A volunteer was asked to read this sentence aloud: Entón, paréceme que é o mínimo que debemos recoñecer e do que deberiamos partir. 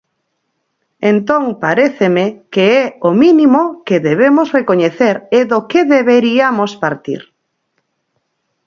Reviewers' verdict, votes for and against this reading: accepted, 4, 0